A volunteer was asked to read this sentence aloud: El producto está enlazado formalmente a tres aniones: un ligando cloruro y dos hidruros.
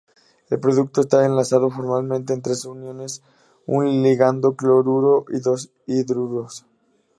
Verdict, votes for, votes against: rejected, 0, 2